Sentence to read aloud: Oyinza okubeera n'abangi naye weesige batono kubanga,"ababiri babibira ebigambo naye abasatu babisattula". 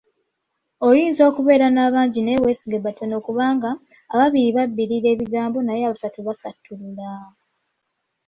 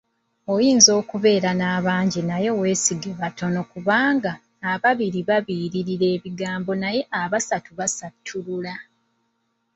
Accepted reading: first